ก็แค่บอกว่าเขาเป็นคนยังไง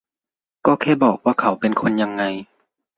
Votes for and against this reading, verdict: 2, 0, accepted